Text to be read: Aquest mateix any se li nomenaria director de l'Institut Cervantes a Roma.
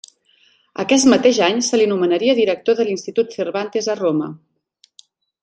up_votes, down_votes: 1, 2